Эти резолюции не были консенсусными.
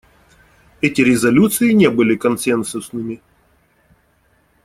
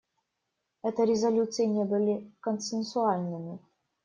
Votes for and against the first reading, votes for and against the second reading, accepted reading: 2, 0, 1, 2, first